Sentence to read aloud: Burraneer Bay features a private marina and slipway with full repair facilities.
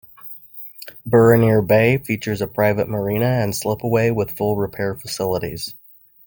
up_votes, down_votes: 2, 1